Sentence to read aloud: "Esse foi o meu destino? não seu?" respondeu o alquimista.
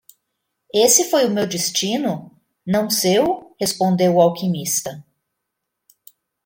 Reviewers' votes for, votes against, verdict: 2, 1, accepted